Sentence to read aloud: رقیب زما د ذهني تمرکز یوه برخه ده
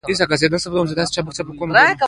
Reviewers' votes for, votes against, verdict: 2, 1, accepted